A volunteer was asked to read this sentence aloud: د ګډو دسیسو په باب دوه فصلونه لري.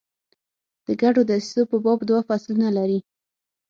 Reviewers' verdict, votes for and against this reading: accepted, 6, 0